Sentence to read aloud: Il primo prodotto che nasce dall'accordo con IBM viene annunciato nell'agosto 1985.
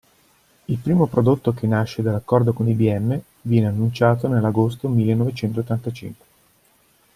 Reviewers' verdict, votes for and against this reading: rejected, 0, 2